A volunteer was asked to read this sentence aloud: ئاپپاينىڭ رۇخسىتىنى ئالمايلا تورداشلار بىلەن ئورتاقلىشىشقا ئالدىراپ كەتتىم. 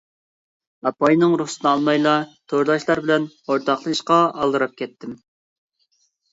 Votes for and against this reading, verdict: 2, 0, accepted